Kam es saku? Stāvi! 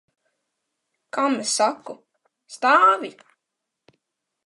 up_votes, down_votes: 2, 0